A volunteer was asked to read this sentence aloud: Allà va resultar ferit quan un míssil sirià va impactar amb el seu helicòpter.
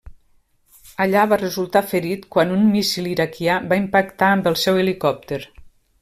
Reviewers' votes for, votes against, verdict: 0, 2, rejected